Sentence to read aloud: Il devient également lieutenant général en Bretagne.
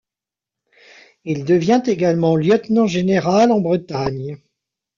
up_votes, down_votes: 1, 2